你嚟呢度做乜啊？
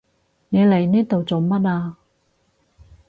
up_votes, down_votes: 4, 0